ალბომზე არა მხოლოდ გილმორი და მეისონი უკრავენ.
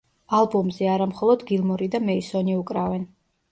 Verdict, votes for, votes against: accepted, 2, 0